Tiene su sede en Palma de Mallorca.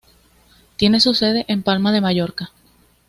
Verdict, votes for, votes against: accepted, 2, 0